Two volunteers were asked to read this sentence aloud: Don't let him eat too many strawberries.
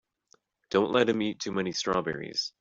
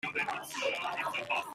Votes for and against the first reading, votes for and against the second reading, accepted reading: 4, 0, 1, 30, first